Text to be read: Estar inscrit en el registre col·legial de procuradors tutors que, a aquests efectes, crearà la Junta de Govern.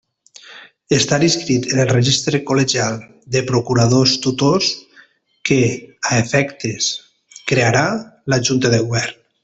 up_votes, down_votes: 0, 2